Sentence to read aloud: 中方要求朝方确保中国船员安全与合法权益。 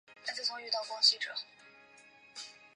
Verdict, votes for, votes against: rejected, 0, 2